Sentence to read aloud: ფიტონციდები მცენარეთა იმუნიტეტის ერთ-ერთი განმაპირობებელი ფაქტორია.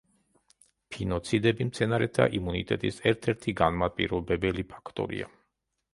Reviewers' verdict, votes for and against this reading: rejected, 1, 3